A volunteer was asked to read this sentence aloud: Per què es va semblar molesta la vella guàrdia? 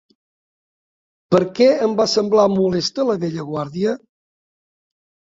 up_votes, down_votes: 0, 2